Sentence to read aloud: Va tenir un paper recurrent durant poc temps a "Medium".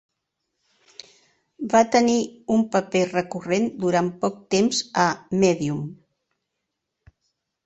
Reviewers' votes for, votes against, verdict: 6, 0, accepted